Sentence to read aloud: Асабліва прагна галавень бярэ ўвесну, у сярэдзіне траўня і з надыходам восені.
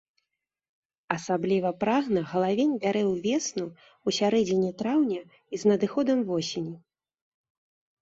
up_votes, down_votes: 2, 0